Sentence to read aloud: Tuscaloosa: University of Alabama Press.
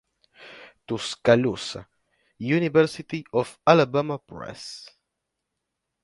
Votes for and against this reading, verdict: 0, 2, rejected